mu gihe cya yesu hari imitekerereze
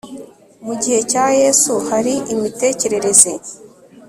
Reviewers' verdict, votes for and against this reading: accepted, 2, 0